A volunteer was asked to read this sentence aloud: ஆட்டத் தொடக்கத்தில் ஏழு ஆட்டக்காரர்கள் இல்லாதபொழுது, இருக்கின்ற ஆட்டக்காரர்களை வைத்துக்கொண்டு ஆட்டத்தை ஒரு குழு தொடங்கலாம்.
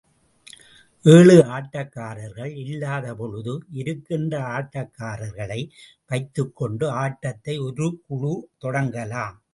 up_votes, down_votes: 0, 2